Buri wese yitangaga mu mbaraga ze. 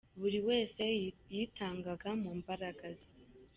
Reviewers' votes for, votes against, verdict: 2, 0, accepted